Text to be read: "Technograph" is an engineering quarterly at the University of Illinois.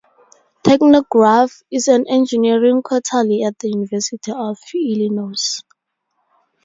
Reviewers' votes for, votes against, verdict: 2, 0, accepted